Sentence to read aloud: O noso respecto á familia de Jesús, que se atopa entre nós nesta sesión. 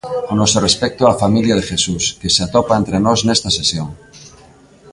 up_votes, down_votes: 2, 0